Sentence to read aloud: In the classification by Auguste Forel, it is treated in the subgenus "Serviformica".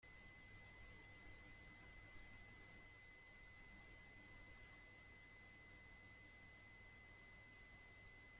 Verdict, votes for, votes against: rejected, 0, 2